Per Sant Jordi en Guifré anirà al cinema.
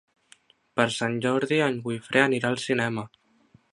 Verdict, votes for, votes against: rejected, 1, 2